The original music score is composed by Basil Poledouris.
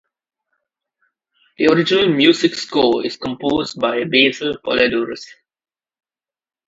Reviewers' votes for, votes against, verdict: 2, 0, accepted